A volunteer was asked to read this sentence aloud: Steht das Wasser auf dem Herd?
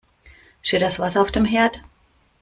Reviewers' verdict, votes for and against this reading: accepted, 2, 0